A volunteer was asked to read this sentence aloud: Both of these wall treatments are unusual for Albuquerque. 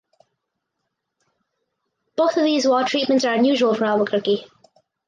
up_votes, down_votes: 4, 0